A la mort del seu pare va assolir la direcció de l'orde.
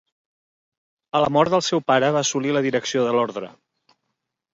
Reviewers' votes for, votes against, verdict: 2, 4, rejected